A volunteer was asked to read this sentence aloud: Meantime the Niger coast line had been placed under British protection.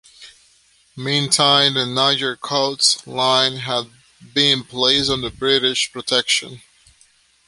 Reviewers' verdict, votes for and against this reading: accepted, 3, 1